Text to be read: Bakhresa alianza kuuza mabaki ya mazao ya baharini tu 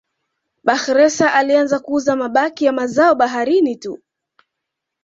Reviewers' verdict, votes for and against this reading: accepted, 2, 0